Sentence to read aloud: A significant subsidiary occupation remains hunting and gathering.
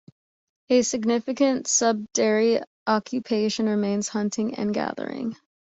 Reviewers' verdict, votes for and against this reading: rejected, 0, 2